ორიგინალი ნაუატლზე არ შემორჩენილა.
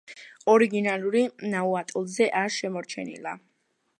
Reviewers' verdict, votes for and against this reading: rejected, 1, 2